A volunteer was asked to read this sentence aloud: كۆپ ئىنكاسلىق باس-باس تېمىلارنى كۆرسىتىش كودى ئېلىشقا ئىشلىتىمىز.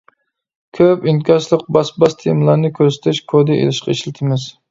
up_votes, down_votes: 2, 0